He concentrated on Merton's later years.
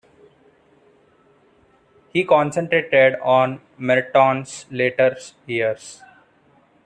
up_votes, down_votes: 0, 2